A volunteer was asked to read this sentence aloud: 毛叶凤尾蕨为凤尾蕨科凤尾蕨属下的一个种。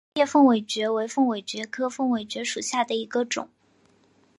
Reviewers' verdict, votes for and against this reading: accepted, 3, 0